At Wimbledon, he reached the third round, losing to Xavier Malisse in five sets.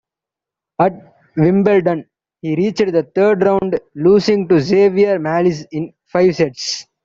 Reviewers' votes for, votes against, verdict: 1, 3, rejected